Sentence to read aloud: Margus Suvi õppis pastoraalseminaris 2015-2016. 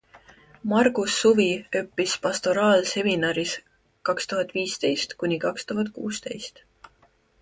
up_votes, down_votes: 0, 2